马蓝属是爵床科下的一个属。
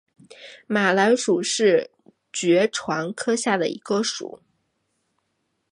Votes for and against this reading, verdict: 3, 0, accepted